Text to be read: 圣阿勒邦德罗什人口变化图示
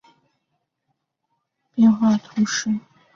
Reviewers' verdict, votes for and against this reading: rejected, 0, 2